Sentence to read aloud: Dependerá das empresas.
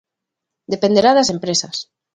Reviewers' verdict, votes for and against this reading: accepted, 2, 0